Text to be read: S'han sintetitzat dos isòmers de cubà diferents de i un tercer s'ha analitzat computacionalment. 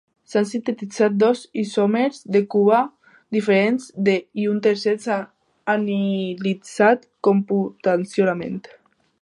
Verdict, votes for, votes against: rejected, 0, 2